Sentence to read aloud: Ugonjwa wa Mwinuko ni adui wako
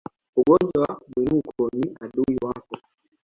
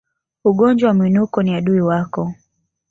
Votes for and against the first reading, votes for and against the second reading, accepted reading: 0, 2, 2, 0, second